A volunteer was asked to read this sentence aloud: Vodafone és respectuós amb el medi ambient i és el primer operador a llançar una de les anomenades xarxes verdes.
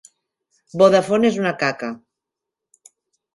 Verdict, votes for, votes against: rejected, 0, 2